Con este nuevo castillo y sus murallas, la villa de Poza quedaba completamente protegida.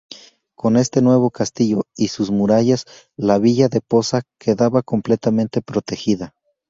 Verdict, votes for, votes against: accepted, 2, 0